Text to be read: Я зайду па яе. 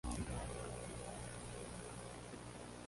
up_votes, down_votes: 0, 2